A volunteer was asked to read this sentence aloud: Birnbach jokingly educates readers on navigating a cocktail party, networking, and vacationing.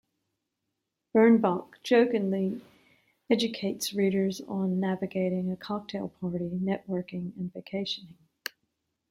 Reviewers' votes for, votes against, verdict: 2, 1, accepted